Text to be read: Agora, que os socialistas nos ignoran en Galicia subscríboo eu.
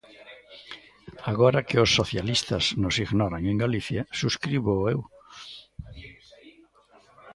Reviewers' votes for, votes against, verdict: 1, 2, rejected